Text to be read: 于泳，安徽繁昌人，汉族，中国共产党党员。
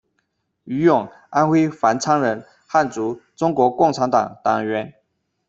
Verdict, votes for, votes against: accepted, 2, 0